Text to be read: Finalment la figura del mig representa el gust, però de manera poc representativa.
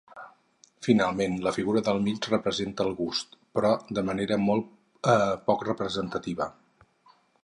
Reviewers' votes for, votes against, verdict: 2, 2, rejected